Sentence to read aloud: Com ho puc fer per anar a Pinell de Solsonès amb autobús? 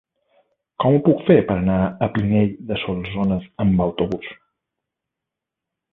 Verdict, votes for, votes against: rejected, 0, 2